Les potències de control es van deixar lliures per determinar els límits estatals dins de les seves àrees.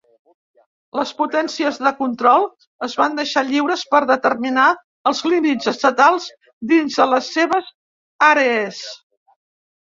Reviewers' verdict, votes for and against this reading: rejected, 1, 2